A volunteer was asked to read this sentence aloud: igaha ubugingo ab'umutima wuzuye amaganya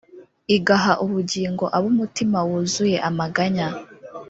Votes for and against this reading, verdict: 1, 2, rejected